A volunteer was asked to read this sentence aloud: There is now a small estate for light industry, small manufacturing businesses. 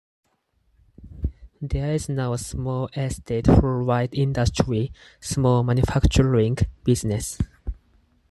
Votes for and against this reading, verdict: 0, 4, rejected